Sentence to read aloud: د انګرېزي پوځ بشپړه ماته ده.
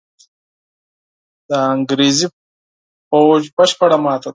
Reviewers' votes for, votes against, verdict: 0, 4, rejected